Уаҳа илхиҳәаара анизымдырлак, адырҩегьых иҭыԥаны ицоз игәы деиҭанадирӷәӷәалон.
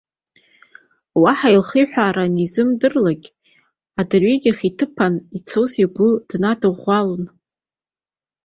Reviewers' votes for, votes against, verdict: 2, 1, accepted